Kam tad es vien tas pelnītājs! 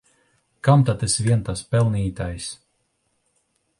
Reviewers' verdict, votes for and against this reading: accepted, 2, 0